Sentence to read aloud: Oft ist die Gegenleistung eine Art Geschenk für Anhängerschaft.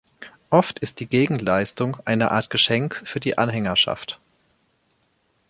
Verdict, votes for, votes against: rejected, 1, 2